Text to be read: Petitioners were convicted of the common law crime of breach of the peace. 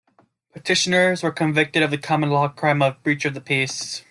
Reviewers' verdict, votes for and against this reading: accepted, 2, 0